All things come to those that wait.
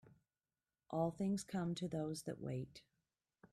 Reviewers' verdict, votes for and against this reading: accepted, 2, 1